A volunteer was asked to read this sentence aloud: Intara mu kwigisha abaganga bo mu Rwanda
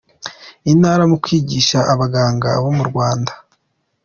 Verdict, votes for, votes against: accepted, 2, 0